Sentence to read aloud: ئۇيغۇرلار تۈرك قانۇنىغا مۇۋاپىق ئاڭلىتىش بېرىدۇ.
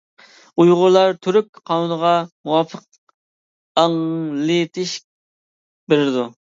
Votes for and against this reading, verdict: 2, 1, accepted